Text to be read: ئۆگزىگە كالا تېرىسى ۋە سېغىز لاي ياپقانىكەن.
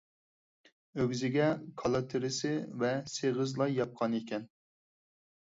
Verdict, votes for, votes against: accepted, 4, 0